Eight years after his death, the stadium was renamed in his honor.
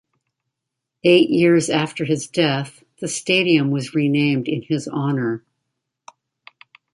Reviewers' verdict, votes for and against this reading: accepted, 2, 0